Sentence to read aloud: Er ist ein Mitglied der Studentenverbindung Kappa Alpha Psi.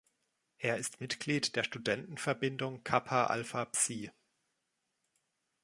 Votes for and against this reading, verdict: 1, 2, rejected